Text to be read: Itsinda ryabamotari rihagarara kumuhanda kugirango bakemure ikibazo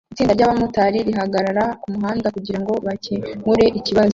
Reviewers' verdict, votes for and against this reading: accepted, 2, 1